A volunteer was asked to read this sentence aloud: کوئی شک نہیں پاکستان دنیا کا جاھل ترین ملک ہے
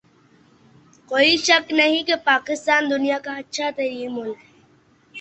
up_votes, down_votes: 0, 2